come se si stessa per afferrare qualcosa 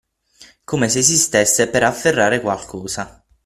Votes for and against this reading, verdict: 3, 6, rejected